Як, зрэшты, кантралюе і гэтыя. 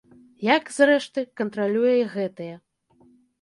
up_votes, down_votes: 2, 0